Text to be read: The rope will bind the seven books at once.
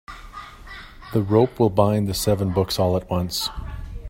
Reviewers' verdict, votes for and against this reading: rejected, 0, 2